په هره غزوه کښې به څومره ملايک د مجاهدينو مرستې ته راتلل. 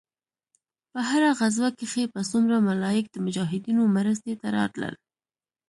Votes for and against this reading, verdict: 0, 2, rejected